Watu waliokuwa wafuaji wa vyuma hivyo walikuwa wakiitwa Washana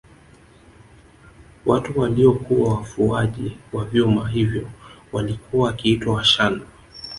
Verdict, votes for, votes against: accepted, 2, 0